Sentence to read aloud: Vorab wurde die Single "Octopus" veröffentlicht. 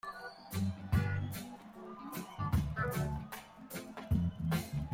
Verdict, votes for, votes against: rejected, 0, 2